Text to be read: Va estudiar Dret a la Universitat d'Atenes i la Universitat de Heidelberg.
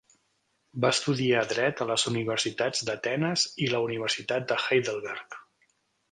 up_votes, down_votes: 0, 3